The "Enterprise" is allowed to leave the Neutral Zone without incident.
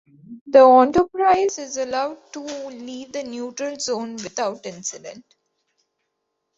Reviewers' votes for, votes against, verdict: 2, 0, accepted